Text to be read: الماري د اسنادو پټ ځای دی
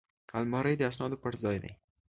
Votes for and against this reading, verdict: 2, 0, accepted